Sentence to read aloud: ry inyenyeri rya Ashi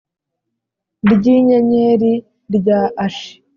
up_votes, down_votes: 4, 0